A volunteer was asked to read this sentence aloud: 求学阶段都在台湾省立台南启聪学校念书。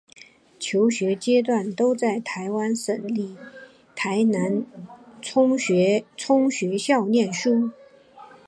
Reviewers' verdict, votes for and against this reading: accepted, 6, 1